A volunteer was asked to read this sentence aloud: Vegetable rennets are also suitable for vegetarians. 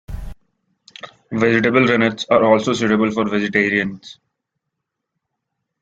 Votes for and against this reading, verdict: 0, 2, rejected